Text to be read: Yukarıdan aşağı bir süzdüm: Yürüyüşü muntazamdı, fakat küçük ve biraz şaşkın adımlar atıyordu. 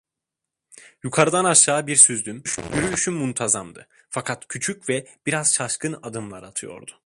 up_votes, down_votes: 1, 2